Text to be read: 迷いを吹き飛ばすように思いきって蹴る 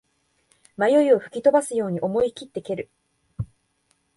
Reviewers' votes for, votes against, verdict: 2, 0, accepted